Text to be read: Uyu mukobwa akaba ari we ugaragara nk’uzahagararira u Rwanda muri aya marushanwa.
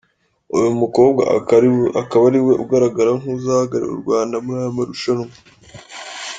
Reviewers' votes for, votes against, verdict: 1, 2, rejected